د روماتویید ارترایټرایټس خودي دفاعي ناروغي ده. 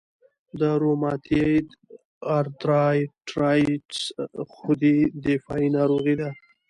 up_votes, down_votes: 2, 0